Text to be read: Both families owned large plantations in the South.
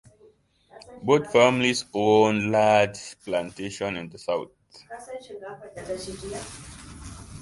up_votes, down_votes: 0, 2